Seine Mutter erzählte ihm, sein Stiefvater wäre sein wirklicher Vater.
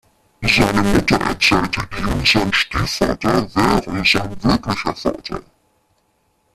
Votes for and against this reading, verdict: 0, 2, rejected